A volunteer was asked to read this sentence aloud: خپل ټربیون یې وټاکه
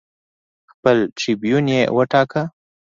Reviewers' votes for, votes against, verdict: 2, 0, accepted